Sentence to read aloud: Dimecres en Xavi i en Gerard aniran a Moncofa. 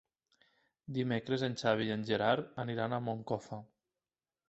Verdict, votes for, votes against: accepted, 3, 0